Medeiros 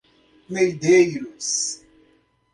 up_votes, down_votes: 1, 2